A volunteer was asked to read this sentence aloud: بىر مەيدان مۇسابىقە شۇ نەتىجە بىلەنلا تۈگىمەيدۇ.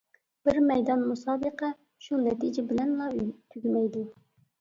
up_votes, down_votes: 0, 2